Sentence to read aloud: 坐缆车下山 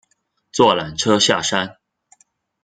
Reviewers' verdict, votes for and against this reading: accepted, 2, 0